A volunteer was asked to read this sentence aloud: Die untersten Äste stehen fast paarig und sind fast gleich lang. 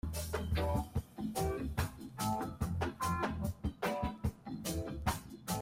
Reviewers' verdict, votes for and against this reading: rejected, 0, 2